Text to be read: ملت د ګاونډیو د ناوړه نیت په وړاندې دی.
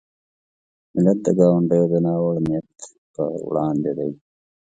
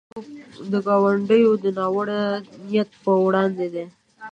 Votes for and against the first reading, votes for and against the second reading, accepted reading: 2, 1, 0, 2, first